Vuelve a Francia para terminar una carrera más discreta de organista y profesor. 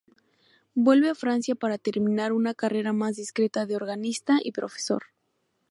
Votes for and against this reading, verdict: 2, 0, accepted